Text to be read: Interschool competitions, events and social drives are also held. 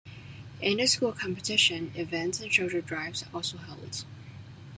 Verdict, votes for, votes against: rejected, 0, 2